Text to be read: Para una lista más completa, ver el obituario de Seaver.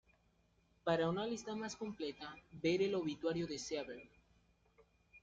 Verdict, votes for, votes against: rejected, 1, 2